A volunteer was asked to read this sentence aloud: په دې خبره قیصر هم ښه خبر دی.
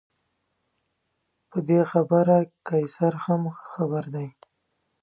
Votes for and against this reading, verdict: 2, 0, accepted